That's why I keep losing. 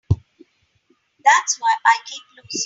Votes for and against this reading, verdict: 2, 5, rejected